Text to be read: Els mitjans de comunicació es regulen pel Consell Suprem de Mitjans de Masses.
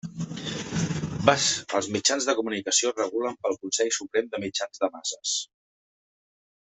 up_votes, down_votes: 0, 2